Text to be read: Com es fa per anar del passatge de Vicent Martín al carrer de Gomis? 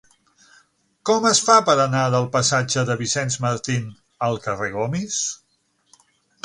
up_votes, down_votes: 0, 6